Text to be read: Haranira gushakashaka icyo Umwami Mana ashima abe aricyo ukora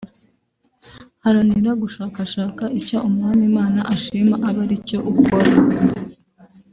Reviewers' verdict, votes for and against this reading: accepted, 4, 0